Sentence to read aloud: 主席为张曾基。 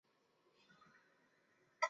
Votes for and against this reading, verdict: 0, 2, rejected